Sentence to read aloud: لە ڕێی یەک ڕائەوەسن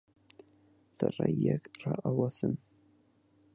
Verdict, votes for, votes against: accepted, 4, 2